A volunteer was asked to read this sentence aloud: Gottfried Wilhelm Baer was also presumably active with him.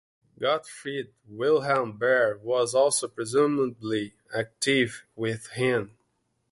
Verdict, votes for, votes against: accepted, 2, 0